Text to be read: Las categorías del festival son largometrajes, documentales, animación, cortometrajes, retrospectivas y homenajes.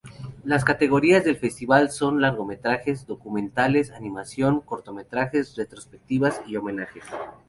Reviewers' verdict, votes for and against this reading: rejected, 0, 2